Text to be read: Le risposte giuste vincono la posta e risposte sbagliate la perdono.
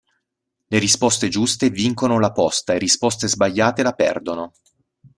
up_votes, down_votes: 2, 0